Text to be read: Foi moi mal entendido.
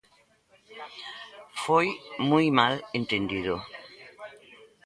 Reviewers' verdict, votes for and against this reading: rejected, 1, 2